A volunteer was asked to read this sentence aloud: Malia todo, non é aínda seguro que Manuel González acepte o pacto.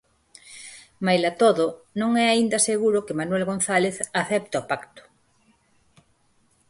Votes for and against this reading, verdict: 0, 4, rejected